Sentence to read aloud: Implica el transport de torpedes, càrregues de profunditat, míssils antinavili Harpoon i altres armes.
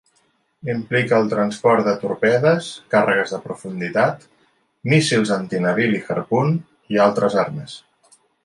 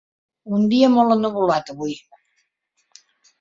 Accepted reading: first